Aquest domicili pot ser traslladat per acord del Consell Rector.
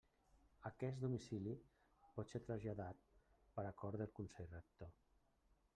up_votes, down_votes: 3, 0